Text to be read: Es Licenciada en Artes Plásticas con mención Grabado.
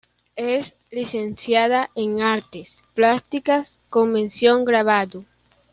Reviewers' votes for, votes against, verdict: 2, 0, accepted